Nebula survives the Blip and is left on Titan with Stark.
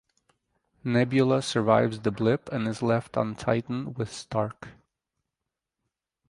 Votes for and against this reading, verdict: 2, 2, rejected